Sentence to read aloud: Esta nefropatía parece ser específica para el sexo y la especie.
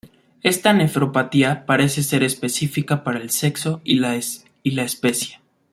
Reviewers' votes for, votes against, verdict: 0, 2, rejected